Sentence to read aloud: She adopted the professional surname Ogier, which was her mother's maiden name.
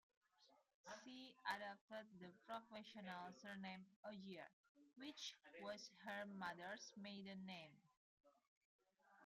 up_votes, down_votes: 0, 2